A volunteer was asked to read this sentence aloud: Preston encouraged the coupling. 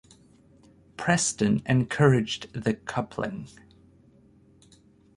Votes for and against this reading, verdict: 4, 0, accepted